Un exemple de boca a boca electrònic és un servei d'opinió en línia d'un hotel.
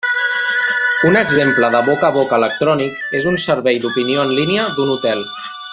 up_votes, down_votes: 1, 2